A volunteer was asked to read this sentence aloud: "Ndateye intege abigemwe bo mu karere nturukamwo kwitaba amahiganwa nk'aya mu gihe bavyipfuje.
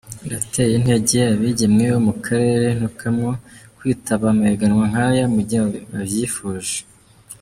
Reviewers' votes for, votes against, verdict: 0, 2, rejected